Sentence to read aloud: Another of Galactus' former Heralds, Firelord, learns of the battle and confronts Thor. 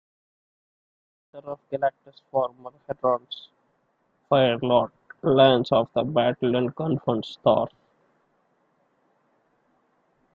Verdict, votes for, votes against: rejected, 0, 2